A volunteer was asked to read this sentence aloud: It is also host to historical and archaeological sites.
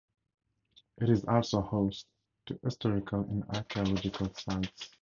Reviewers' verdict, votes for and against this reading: accepted, 4, 0